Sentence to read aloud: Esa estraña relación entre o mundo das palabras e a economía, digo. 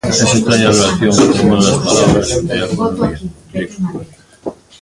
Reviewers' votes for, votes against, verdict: 0, 2, rejected